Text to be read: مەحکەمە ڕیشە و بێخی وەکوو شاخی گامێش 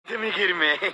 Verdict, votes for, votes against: rejected, 0, 2